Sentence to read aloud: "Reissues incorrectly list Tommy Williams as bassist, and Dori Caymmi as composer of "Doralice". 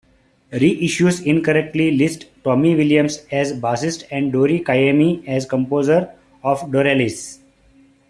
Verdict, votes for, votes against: accepted, 2, 0